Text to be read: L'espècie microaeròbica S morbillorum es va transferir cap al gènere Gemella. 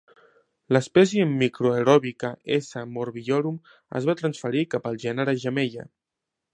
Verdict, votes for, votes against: rejected, 0, 2